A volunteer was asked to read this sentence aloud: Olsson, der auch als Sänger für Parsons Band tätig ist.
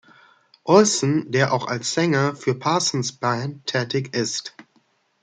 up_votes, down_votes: 0, 2